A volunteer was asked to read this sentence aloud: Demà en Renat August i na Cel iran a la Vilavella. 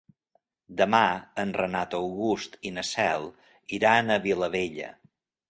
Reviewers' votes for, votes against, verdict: 1, 2, rejected